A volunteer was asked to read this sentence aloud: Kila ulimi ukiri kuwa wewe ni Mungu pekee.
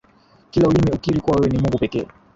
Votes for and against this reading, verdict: 1, 2, rejected